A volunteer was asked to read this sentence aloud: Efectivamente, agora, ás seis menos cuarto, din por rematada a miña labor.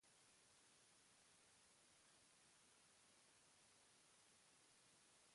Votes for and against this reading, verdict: 0, 2, rejected